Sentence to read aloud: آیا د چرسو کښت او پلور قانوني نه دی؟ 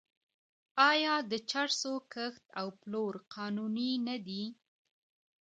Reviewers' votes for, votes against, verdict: 1, 2, rejected